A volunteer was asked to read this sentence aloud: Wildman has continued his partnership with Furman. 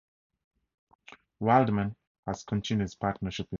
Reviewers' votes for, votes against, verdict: 0, 2, rejected